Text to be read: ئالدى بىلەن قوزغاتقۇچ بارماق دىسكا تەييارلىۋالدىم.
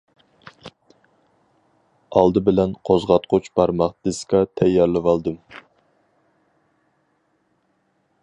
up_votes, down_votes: 4, 0